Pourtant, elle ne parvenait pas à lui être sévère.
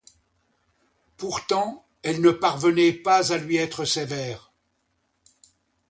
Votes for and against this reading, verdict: 2, 0, accepted